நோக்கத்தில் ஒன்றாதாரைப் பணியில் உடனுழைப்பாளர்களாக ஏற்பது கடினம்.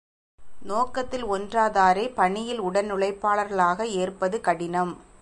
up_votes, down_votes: 2, 0